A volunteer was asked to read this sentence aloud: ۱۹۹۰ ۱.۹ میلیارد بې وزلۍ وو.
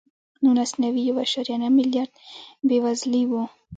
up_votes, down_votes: 0, 2